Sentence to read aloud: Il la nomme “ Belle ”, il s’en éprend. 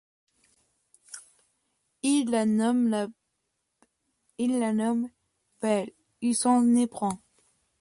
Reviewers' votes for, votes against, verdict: 1, 2, rejected